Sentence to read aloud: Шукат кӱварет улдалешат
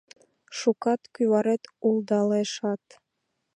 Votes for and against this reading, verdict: 0, 2, rejected